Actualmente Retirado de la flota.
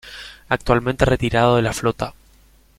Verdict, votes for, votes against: accepted, 2, 0